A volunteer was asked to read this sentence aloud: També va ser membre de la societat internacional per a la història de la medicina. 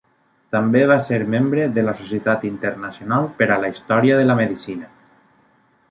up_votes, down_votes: 1, 2